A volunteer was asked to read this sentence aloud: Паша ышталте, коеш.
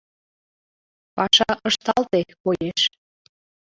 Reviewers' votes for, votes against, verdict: 2, 1, accepted